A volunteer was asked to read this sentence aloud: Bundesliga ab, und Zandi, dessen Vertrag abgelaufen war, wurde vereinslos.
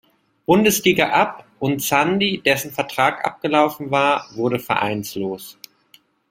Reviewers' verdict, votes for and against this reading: rejected, 1, 2